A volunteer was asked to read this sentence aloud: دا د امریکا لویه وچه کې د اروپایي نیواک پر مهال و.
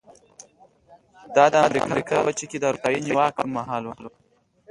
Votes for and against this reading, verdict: 2, 1, accepted